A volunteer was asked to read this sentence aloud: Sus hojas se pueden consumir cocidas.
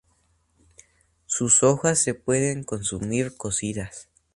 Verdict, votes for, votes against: accepted, 2, 0